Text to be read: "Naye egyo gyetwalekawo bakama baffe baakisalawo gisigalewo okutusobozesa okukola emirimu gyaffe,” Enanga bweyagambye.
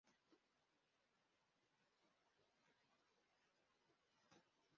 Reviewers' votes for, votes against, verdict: 0, 2, rejected